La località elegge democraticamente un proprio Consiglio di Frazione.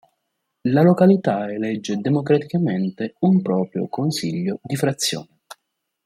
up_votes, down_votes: 2, 1